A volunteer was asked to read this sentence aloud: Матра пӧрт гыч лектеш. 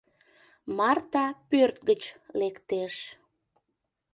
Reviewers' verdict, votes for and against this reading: rejected, 0, 2